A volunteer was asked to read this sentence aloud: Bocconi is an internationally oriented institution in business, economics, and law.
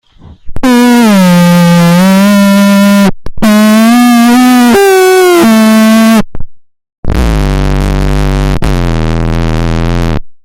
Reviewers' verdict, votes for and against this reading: rejected, 0, 2